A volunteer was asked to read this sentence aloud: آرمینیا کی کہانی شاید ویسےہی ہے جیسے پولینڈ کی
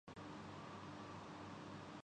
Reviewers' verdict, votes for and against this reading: rejected, 1, 5